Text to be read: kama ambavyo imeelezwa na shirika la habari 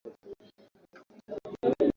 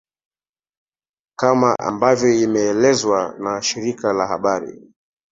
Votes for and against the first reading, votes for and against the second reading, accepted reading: 0, 2, 3, 0, second